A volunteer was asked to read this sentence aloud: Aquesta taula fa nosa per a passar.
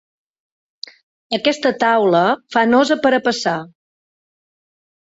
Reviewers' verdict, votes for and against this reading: rejected, 1, 2